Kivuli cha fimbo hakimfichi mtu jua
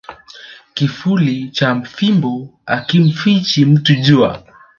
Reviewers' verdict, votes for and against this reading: rejected, 1, 2